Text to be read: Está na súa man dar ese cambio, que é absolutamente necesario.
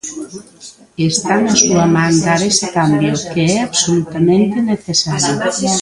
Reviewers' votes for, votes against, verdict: 2, 0, accepted